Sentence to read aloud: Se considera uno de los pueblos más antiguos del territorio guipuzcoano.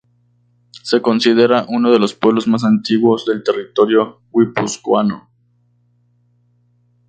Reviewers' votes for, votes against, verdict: 0, 2, rejected